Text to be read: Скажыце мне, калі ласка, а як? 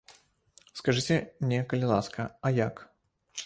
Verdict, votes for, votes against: accepted, 2, 0